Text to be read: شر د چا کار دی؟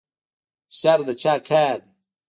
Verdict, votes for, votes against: rejected, 1, 2